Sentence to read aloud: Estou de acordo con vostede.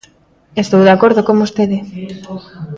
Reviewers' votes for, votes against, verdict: 1, 2, rejected